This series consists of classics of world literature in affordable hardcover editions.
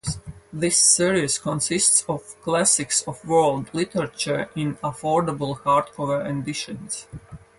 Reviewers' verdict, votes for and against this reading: accepted, 2, 0